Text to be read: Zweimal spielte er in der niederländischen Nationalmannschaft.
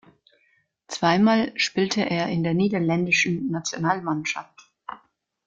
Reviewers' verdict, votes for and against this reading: accepted, 2, 0